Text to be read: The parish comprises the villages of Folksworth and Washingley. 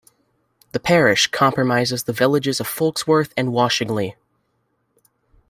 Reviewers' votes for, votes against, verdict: 1, 2, rejected